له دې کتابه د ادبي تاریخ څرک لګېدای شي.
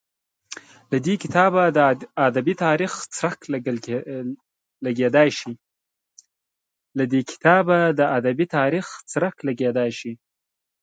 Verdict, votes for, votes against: accepted, 2, 0